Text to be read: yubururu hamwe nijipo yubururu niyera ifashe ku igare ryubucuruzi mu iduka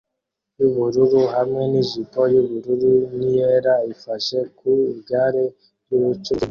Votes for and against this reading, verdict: 0, 2, rejected